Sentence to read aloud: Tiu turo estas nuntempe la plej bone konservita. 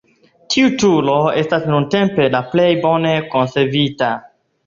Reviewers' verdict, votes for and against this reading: accepted, 2, 0